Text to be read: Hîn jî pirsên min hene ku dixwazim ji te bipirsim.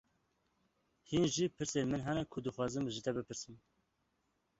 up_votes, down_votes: 2, 0